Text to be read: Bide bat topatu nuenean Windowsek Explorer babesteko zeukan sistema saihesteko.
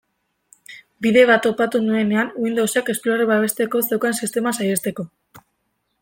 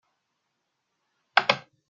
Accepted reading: first